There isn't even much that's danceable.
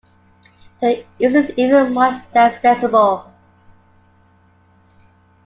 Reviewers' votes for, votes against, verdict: 0, 2, rejected